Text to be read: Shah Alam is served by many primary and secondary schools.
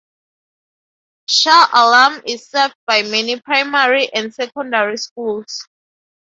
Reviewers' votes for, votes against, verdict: 2, 0, accepted